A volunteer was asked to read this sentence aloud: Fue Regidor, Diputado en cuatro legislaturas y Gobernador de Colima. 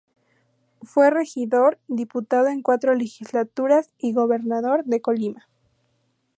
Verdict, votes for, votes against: accepted, 2, 0